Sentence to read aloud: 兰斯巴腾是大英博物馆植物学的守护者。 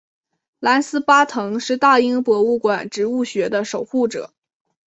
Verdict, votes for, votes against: accepted, 2, 1